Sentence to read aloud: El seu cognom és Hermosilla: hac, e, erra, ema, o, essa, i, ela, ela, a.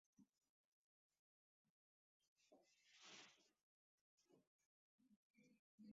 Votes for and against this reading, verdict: 0, 2, rejected